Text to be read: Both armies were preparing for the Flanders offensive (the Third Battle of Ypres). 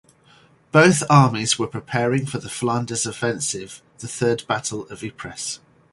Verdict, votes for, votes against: rejected, 2, 2